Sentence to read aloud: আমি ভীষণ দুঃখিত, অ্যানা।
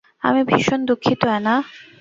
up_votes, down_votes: 4, 0